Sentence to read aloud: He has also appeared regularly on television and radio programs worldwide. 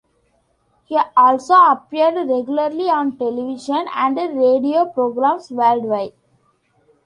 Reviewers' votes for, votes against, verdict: 1, 2, rejected